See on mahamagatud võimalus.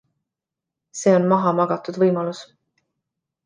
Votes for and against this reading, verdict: 2, 0, accepted